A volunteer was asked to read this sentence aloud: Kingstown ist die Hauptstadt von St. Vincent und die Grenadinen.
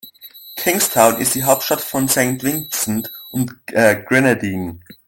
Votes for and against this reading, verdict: 0, 2, rejected